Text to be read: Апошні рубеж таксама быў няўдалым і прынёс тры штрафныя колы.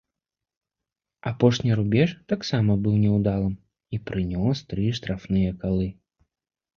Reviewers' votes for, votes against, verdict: 1, 2, rejected